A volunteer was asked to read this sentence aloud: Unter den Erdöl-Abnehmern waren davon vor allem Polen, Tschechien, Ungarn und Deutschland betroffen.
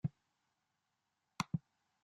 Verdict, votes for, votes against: rejected, 0, 2